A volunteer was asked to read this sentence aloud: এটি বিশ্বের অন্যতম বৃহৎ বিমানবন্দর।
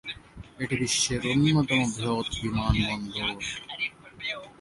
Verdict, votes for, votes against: rejected, 1, 2